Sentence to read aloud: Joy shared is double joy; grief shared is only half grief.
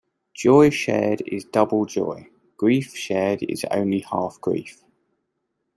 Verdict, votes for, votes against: accepted, 2, 0